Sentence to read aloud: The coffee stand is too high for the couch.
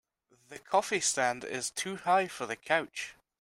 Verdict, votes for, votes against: accepted, 2, 0